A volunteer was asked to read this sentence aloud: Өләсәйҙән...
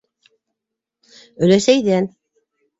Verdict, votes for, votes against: accepted, 2, 0